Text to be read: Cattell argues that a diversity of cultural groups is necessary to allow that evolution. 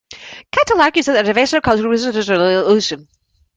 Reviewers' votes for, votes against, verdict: 0, 2, rejected